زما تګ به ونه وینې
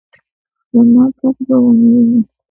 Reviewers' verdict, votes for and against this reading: rejected, 1, 2